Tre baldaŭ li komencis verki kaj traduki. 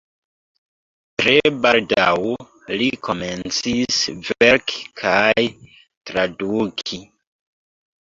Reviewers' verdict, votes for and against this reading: accepted, 2, 0